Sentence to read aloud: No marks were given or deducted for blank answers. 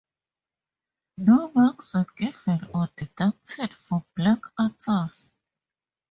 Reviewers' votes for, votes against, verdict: 2, 0, accepted